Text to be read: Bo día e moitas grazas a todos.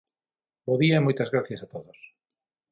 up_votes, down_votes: 0, 6